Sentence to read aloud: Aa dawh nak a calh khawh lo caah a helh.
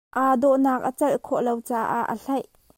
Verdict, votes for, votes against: rejected, 0, 2